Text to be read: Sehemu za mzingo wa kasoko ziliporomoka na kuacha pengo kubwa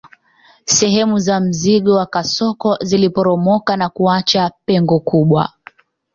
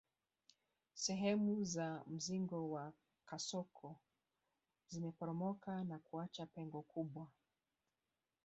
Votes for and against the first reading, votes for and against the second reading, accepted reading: 2, 1, 1, 2, first